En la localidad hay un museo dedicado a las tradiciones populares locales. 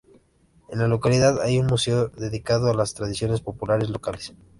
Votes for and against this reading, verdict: 2, 0, accepted